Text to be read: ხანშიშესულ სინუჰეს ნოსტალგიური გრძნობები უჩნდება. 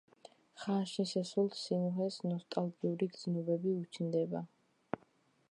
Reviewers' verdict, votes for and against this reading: rejected, 1, 2